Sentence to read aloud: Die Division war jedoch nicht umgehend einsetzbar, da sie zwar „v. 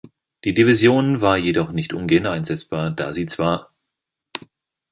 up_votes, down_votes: 0, 3